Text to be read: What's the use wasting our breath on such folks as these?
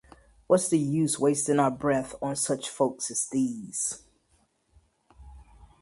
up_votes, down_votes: 2, 0